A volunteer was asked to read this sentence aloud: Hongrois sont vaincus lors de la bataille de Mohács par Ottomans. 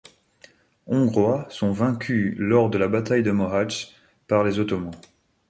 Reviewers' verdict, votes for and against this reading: rejected, 0, 2